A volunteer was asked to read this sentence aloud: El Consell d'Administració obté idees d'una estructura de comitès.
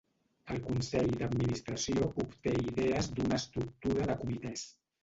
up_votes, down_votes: 1, 2